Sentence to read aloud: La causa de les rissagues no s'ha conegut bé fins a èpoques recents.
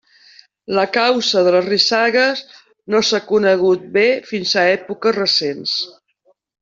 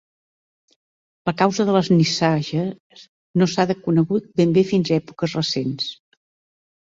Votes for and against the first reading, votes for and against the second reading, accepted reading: 2, 0, 0, 2, first